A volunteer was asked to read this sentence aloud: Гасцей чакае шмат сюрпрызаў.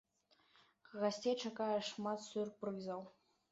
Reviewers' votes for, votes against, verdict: 2, 0, accepted